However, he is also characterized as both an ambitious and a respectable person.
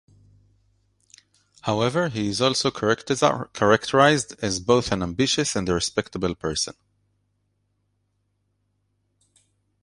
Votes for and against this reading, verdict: 1, 2, rejected